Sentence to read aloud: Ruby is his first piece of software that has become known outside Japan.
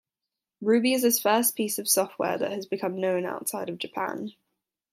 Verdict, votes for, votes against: rejected, 1, 2